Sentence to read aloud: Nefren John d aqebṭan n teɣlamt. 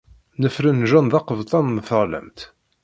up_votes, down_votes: 2, 0